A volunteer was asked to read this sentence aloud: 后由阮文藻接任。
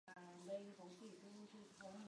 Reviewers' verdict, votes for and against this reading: rejected, 0, 2